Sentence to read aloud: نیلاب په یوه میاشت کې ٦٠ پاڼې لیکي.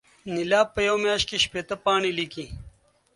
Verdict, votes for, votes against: rejected, 0, 2